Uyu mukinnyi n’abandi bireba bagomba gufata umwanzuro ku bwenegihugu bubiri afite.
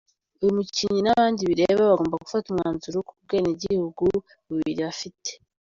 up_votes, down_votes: 2, 0